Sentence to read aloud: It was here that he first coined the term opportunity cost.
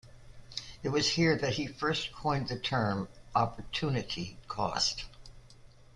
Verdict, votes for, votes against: accepted, 2, 0